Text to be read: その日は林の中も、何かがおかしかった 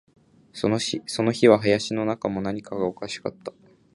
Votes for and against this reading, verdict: 0, 2, rejected